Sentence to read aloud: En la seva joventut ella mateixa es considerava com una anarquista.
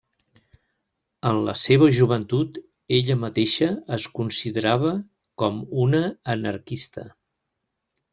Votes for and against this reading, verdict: 3, 0, accepted